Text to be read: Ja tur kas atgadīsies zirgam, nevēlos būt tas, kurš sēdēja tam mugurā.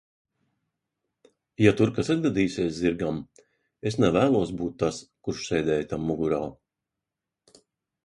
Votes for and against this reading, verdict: 0, 2, rejected